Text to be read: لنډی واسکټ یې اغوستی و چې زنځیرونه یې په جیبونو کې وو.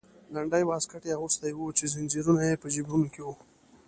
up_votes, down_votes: 2, 0